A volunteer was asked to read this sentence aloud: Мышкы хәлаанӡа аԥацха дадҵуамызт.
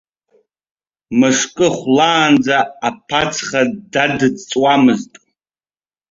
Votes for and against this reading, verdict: 2, 0, accepted